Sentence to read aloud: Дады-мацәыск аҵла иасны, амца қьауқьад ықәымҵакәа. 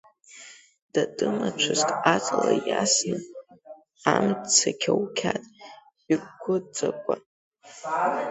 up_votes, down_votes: 1, 2